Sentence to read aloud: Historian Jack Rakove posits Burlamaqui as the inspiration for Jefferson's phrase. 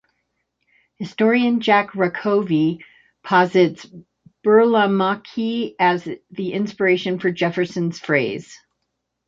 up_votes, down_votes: 2, 0